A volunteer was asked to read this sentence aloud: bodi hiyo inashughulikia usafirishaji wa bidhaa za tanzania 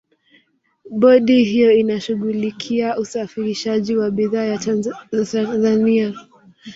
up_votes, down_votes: 1, 2